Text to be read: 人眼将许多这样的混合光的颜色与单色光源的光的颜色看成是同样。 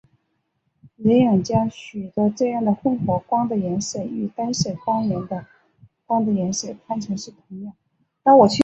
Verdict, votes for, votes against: rejected, 2, 4